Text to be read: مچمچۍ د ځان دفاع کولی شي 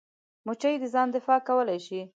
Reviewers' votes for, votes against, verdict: 1, 2, rejected